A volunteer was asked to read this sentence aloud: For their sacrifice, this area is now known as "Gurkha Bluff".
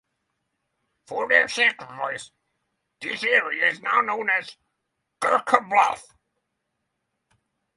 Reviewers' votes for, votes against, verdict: 3, 3, rejected